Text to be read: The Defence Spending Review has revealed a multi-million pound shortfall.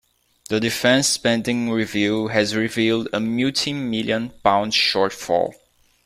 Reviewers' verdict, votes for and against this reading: rejected, 0, 2